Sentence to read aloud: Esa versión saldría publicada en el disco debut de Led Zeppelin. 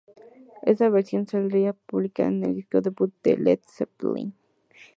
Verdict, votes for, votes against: rejected, 0, 2